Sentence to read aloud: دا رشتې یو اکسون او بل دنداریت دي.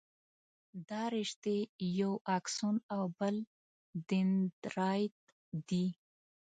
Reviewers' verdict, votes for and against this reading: accepted, 2, 0